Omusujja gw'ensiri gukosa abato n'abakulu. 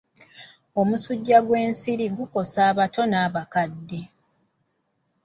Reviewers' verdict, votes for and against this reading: rejected, 0, 2